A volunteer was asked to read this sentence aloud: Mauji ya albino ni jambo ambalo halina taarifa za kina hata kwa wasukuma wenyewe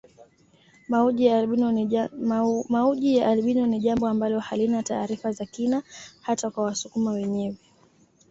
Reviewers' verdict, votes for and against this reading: accepted, 2, 0